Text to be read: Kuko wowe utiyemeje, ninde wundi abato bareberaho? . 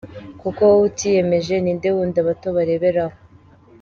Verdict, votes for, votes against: rejected, 1, 2